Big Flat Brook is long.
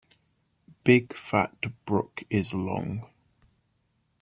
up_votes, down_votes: 0, 2